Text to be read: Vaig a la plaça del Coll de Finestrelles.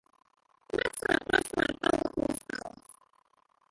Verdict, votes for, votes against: rejected, 0, 2